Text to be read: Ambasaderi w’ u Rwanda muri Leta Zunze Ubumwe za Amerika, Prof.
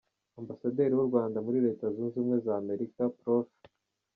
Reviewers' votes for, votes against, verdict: 2, 0, accepted